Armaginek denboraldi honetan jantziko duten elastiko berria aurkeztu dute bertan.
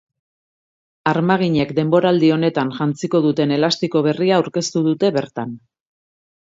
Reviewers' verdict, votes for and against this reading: accepted, 4, 1